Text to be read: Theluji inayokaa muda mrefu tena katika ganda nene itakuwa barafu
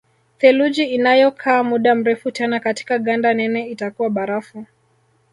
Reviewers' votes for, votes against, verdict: 1, 2, rejected